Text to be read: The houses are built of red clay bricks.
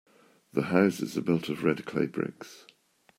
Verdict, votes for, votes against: accepted, 2, 0